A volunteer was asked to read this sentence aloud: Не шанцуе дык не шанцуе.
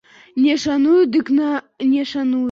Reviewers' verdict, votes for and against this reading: rejected, 0, 2